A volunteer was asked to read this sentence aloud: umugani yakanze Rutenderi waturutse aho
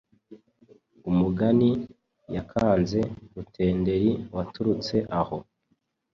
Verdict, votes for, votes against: accepted, 2, 0